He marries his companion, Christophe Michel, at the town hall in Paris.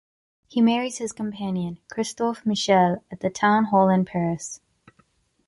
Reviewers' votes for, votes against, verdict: 2, 0, accepted